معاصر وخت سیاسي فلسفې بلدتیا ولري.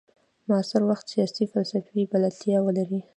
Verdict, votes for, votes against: rejected, 1, 2